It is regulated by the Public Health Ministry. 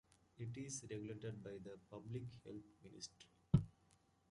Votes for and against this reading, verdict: 1, 2, rejected